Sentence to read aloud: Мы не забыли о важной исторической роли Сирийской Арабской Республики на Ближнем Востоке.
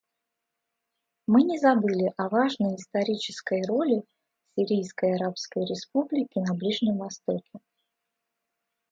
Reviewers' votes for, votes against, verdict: 2, 0, accepted